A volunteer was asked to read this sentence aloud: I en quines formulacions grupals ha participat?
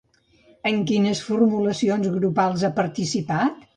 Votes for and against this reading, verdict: 1, 2, rejected